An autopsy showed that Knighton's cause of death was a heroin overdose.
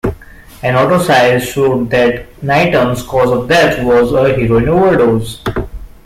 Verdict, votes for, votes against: rejected, 0, 2